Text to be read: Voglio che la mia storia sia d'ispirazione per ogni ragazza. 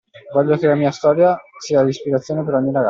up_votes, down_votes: 0, 2